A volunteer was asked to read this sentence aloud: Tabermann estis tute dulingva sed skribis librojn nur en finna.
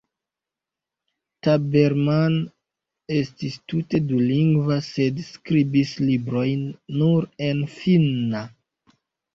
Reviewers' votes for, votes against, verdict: 2, 0, accepted